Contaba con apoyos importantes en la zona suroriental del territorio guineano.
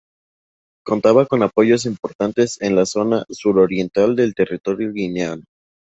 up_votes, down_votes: 2, 0